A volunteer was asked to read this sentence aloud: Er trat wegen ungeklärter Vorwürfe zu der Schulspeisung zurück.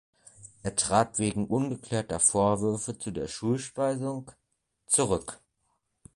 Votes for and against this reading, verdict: 2, 1, accepted